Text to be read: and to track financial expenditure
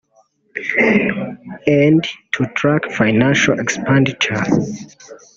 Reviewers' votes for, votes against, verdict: 1, 2, rejected